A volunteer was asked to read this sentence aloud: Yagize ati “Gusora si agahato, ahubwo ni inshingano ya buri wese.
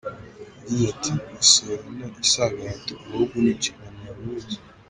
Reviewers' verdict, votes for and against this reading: accepted, 2, 0